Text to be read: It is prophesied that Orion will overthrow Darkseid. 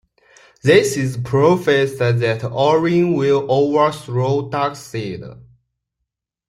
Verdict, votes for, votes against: accepted, 2, 1